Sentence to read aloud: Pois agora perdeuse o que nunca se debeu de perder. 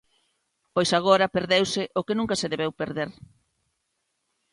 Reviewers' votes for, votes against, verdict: 0, 2, rejected